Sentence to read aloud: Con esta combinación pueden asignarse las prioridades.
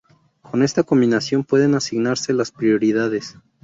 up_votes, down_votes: 0, 2